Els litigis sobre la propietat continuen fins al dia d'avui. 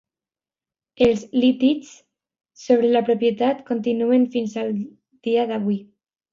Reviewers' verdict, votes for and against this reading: rejected, 1, 2